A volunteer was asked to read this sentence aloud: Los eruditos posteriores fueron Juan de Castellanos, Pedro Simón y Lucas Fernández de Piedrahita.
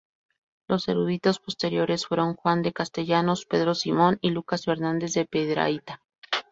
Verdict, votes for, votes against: rejected, 0, 2